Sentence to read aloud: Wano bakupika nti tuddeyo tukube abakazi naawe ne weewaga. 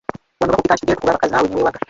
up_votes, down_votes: 0, 2